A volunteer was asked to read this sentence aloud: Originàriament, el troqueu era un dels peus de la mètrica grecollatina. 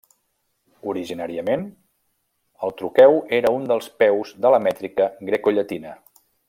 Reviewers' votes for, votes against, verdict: 0, 2, rejected